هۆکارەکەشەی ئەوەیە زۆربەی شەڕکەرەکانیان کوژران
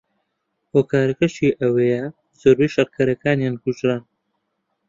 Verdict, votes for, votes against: accepted, 2, 0